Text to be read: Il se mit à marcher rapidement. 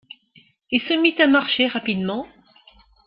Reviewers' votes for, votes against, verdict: 2, 0, accepted